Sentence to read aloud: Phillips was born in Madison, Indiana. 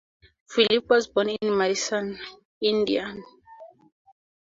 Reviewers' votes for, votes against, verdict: 2, 0, accepted